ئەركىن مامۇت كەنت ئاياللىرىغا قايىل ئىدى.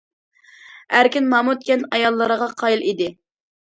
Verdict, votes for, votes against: accepted, 2, 0